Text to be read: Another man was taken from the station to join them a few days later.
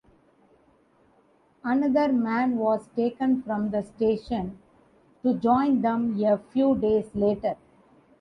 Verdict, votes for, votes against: accepted, 2, 0